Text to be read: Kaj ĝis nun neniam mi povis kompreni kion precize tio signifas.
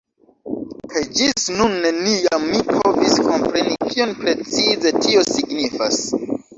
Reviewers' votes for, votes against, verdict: 2, 0, accepted